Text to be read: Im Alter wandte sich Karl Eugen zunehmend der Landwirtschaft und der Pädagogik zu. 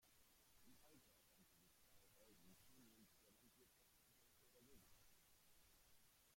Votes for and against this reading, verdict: 0, 2, rejected